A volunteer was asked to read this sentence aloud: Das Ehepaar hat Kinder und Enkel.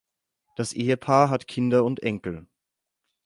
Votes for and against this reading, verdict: 12, 0, accepted